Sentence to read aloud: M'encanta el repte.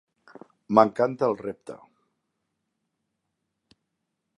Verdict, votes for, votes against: accepted, 3, 0